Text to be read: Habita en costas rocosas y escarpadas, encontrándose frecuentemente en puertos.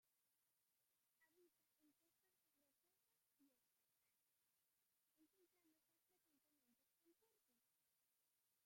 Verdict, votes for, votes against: rejected, 0, 2